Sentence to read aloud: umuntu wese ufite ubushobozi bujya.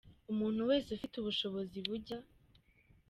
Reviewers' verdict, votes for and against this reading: accepted, 2, 0